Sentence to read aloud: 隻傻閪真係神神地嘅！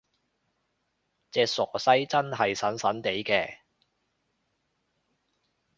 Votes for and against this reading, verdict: 0, 2, rejected